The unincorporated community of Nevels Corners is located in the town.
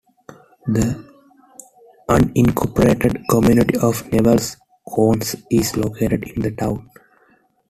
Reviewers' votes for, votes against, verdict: 0, 2, rejected